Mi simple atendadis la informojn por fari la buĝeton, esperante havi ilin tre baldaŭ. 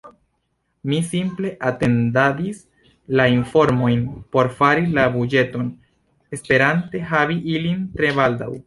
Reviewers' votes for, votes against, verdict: 0, 2, rejected